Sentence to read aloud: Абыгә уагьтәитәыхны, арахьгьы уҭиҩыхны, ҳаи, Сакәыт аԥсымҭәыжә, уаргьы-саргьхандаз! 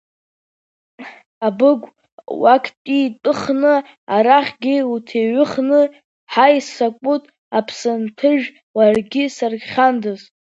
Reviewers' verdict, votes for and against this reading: rejected, 0, 2